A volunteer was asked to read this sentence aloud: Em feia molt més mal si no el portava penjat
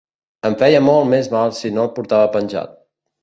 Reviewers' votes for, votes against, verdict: 3, 0, accepted